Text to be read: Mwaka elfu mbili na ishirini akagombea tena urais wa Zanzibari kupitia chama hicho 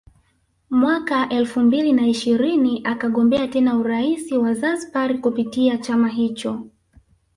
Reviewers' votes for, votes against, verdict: 2, 0, accepted